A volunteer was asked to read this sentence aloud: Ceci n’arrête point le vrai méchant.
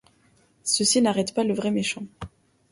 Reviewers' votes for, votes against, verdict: 0, 2, rejected